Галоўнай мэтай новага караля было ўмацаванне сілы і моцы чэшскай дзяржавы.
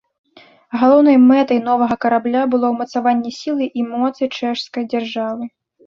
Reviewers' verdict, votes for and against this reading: rejected, 1, 2